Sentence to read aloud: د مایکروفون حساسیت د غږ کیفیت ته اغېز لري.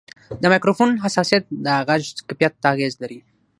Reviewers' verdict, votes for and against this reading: accepted, 6, 0